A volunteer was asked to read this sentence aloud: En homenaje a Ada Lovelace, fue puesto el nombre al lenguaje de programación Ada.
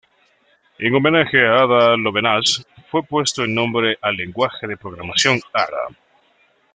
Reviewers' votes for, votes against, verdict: 1, 2, rejected